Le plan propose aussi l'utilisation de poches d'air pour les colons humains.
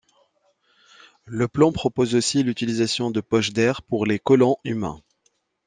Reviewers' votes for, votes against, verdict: 2, 0, accepted